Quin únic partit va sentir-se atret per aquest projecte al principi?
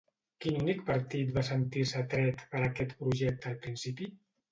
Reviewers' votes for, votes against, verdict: 2, 0, accepted